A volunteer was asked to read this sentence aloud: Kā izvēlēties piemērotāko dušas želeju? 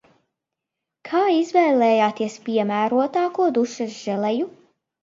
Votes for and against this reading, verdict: 0, 2, rejected